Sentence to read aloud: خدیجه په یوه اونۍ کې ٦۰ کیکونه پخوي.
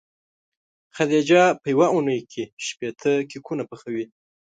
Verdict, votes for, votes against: rejected, 0, 2